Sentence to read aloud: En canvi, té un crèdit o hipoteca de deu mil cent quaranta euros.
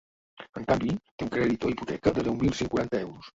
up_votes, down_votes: 0, 2